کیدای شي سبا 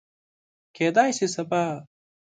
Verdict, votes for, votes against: accepted, 4, 1